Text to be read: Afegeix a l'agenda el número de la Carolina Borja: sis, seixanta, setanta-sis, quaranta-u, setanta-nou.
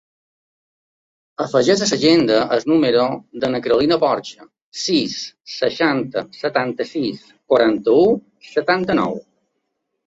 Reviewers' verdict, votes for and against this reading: accepted, 2, 0